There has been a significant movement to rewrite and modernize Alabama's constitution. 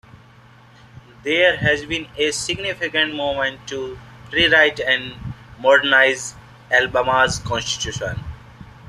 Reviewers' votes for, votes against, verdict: 0, 2, rejected